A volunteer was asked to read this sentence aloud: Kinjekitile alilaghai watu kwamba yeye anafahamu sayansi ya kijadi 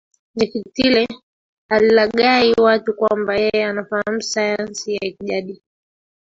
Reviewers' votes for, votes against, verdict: 0, 2, rejected